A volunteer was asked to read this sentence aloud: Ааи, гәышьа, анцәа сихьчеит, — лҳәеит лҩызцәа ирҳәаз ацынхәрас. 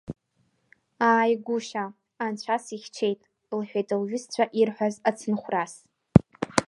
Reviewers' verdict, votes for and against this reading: rejected, 1, 2